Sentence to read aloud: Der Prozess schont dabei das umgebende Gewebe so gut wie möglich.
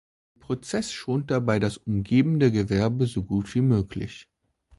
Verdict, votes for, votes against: rejected, 0, 2